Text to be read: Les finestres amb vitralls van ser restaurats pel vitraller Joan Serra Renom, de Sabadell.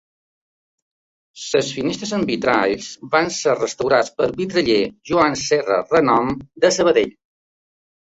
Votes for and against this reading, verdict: 2, 0, accepted